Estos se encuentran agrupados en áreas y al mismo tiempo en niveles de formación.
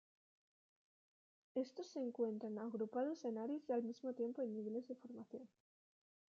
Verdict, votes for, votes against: rejected, 1, 2